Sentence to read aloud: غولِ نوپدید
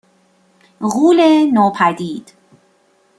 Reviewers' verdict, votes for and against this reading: accepted, 2, 0